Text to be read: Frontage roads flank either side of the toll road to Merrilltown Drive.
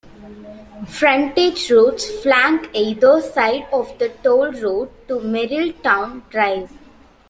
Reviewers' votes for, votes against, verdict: 2, 1, accepted